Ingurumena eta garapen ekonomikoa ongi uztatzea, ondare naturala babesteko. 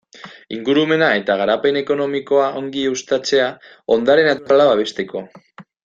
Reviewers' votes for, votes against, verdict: 2, 0, accepted